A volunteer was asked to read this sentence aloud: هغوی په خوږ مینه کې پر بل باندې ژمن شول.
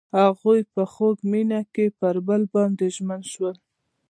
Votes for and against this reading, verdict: 2, 0, accepted